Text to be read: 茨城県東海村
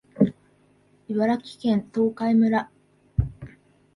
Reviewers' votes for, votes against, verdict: 2, 0, accepted